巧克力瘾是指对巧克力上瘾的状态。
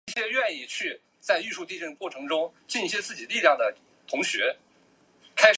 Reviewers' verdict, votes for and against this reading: rejected, 1, 2